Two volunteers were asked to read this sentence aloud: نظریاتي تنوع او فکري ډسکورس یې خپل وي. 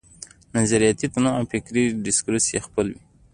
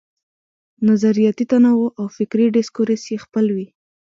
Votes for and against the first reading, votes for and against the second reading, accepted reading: 1, 2, 3, 1, second